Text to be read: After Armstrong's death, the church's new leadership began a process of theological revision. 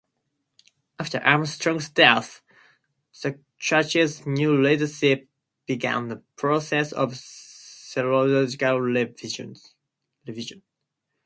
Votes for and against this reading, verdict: 0, 4, rejected